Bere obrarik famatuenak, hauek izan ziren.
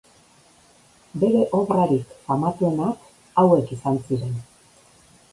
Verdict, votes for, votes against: accepted, 2, 0